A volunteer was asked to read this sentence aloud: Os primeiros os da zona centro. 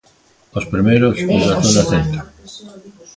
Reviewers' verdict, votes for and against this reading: rejected, 0, 3